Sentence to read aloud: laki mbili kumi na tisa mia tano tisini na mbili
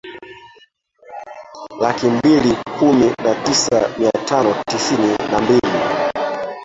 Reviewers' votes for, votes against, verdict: 1, 2, rejected